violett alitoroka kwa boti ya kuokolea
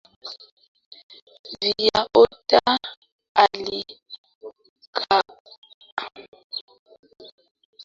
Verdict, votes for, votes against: rejected, 0, 2